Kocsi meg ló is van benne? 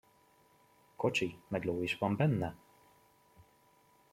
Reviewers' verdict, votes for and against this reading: accepted, 2, 0